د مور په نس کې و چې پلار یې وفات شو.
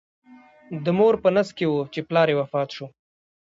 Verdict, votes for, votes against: accepted, 2, 1